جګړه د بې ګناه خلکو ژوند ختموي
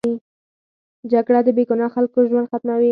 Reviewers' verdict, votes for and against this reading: rejected, 0, 4